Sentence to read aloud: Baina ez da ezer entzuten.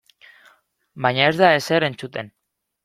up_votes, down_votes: 2, 0